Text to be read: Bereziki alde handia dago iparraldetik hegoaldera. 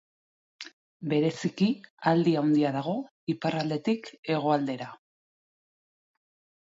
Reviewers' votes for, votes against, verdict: 0, 2, rejected